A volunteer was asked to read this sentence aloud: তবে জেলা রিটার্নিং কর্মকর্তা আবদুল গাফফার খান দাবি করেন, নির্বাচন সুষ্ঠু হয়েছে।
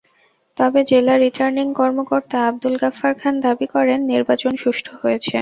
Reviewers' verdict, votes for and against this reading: accepted, 2, 0